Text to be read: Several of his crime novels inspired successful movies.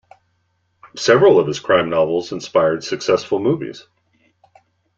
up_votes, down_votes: 2, 0